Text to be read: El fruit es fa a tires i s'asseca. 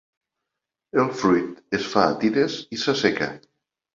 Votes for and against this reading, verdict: 2, 0, accepted